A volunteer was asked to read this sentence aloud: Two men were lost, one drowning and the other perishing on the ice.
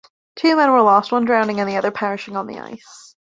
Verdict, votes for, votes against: accepted, 2, 0